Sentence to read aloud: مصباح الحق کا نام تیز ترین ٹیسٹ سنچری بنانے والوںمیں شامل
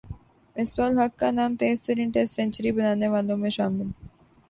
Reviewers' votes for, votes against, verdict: 12, 1, accepted